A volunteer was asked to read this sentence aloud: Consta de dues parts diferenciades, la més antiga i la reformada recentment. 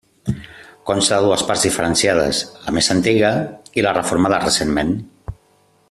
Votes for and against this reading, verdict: 2, 1, accepted